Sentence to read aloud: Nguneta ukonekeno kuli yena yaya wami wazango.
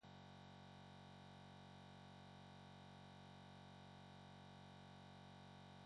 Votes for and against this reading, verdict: 0, 2, rejected